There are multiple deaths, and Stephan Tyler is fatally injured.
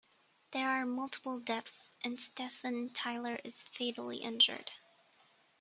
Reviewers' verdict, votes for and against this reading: accepted, 2, 1